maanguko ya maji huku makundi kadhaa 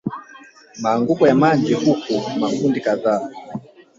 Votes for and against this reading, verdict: 1, 2, rejected